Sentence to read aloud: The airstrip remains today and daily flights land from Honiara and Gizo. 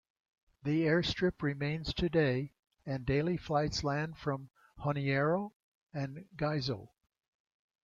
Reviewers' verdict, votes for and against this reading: rejected, 0, 2